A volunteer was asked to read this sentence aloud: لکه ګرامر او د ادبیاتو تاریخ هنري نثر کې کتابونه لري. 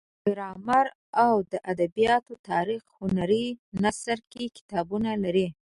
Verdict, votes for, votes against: rejected, 1, 2